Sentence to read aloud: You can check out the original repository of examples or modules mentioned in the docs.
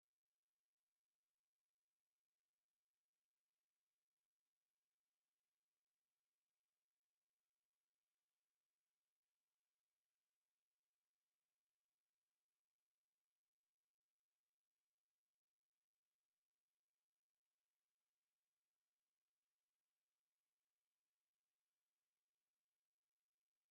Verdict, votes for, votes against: rejected, 0, 2